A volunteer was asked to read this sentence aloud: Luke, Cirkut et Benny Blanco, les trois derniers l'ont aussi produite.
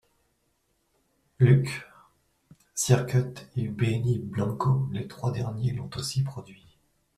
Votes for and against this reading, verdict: 0, 2, rejected